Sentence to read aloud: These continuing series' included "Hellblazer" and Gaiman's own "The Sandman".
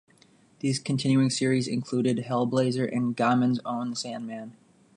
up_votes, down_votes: 2, 0